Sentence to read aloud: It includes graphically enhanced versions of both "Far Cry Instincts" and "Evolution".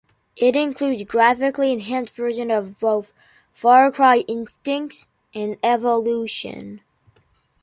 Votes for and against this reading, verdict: 1, 2, rejected